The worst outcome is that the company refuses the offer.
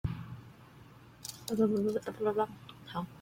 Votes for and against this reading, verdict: 0, 3, rejected